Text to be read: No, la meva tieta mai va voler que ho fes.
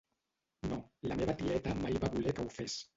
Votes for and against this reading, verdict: 1, 2, rejected